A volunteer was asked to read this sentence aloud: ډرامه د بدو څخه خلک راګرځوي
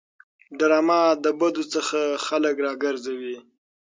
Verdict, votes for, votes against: accepted, 6, 0